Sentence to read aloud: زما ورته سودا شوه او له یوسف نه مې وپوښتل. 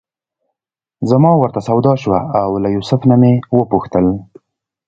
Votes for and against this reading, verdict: 2, 0, accepted